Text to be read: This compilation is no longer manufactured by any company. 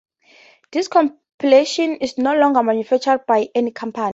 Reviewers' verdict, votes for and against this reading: accepted, 4, 2